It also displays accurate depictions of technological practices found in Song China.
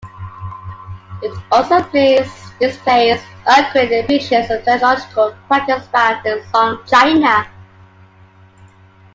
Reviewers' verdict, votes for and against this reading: rejected, 0, 2